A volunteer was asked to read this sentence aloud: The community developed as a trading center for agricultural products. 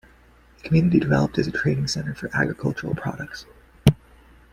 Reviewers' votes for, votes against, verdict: 2, 1, accepted